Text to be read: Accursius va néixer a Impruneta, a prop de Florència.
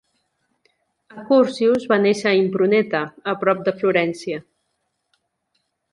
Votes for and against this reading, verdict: 2, 0, accepted